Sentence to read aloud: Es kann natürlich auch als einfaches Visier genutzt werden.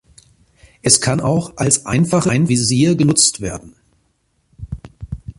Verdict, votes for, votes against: rejected, 0, 2